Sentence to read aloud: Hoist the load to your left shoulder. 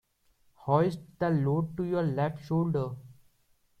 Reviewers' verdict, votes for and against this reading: accepted, 2, 0